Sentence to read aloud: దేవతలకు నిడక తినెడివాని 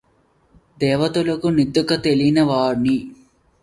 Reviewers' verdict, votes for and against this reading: rejected, 0, 2